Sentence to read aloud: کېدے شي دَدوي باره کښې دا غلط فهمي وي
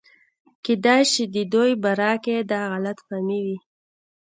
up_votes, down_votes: 2, 0